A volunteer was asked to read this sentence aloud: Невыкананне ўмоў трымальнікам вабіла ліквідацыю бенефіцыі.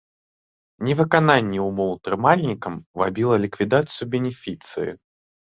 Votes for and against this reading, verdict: 0, 2, rejected